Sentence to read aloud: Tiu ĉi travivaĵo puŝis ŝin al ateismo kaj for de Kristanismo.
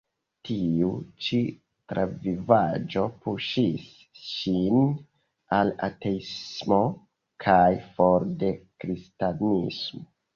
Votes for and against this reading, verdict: 2, 0, accepted